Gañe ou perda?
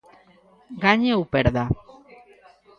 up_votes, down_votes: 2, 0